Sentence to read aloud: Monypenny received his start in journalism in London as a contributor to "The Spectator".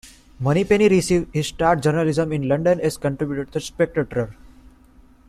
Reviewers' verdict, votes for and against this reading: rejected, 0, 2